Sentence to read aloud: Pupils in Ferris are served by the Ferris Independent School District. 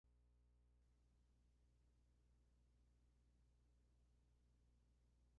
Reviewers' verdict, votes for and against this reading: rejected, 0, 2